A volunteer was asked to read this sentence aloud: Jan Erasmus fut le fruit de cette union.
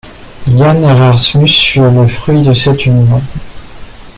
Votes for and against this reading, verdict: 2, 1, accepted